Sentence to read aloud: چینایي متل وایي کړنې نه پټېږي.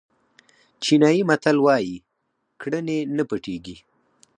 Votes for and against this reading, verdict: 4, 0, accepted